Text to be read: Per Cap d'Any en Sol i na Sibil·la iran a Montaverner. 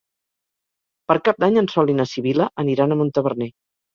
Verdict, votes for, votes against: rejected, 0, 4